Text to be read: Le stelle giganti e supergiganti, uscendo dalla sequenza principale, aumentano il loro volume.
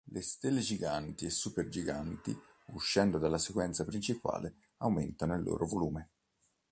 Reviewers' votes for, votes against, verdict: 2, 0, accepted